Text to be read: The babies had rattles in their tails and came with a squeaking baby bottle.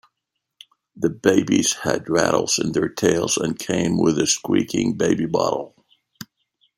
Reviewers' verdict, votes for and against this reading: accepted, 2, 0